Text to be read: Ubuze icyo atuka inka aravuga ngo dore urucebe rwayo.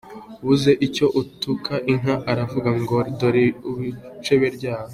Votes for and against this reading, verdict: 3, 2, accepted